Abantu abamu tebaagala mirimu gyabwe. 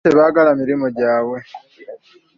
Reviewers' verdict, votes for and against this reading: rejected, 1, 2